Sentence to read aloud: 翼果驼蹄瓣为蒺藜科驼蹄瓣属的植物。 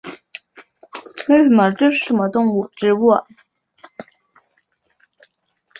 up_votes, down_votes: 0, 3